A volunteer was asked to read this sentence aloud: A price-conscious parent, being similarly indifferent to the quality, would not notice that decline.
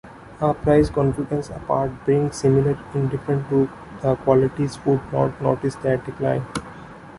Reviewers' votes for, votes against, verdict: 0, 3, rejected